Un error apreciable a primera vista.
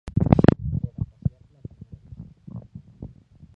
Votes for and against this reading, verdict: 0, 3, rejected